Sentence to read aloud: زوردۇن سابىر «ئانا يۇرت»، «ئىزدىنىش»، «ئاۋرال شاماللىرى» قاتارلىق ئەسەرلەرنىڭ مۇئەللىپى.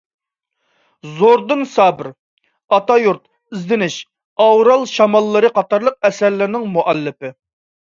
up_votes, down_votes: 0, 2